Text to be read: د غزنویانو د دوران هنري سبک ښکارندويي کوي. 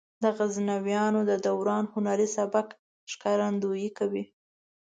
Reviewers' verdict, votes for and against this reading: rejected, 1, 2